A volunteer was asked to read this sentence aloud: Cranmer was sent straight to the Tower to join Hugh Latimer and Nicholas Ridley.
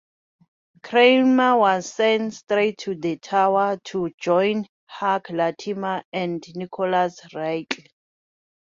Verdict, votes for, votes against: accepted, 2, 0